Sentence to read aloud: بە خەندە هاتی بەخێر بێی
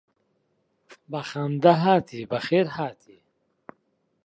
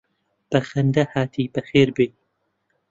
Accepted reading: second